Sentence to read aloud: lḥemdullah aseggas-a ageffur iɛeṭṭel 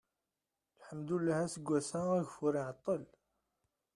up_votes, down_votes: 0, 2